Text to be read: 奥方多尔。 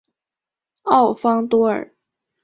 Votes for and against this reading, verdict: 2, 0, accepted